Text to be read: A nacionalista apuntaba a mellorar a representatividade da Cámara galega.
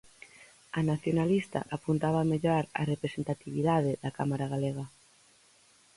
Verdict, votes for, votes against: accepted, 4, 0